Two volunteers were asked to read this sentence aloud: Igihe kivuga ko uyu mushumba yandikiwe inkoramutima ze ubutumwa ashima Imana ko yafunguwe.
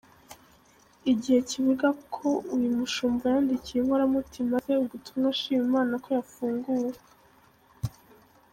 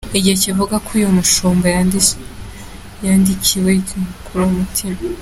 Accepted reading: first